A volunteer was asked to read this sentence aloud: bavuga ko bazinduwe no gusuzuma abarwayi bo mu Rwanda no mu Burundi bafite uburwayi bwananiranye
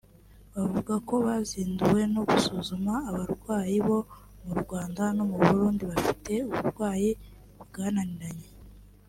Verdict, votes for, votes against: accepted, 3, 0